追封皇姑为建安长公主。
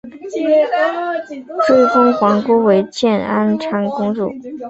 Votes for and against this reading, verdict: 1, 2, rejected